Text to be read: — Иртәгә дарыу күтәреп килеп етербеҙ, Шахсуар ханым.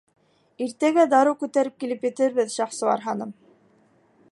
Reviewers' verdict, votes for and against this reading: accepted, 3, 0